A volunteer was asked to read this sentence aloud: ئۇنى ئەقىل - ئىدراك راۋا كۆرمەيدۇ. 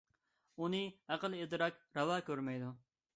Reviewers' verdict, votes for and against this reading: accepted, 3, 0